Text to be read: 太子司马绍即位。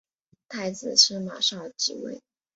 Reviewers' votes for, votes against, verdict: 3, 0, accepted